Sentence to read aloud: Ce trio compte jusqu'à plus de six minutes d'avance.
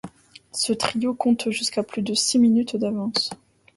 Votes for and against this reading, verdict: 2, 0, accepted